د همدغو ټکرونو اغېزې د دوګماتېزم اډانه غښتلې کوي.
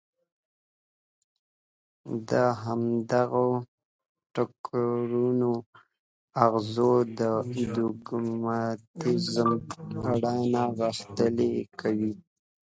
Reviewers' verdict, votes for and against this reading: rejected, 1, 3